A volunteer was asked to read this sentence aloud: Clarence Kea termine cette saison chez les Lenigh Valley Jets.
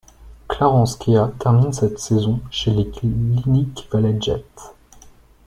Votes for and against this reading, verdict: 0, 2, rejected